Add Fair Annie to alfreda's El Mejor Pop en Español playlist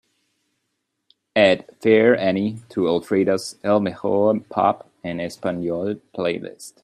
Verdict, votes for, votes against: accepted, 2, 0